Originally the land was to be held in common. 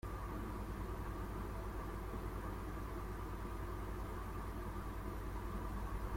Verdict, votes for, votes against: rejected, 0, 2